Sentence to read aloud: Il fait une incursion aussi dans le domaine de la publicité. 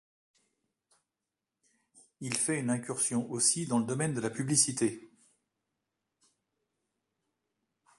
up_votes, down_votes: 1, 2